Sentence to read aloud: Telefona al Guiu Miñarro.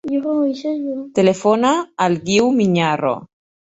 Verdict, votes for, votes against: rejected, 0, 2